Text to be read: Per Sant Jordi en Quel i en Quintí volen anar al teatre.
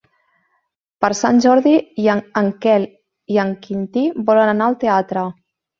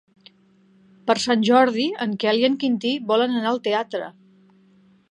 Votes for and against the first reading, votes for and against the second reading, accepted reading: 1, 2, 3, 0, second